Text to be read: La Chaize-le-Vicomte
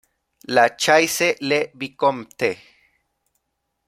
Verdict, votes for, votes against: rejected, 0, 2